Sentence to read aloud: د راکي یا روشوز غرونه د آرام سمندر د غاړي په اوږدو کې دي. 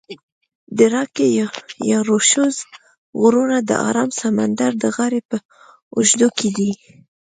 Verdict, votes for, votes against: accepted, 2, 1